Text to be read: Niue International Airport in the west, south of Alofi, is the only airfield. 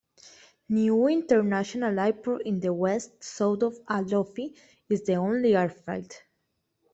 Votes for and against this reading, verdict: 2, 1, accepted